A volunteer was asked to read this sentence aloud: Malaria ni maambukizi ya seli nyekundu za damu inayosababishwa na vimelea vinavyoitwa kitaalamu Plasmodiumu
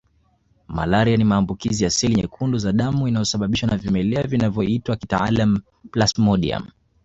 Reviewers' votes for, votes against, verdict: 2, 0, accepted